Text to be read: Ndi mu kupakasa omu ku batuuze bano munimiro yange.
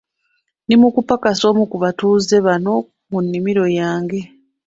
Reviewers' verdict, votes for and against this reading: accepted, 2, 0